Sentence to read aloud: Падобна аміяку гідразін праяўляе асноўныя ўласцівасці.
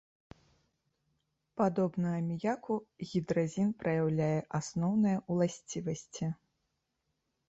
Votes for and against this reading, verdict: 2, 0, accepted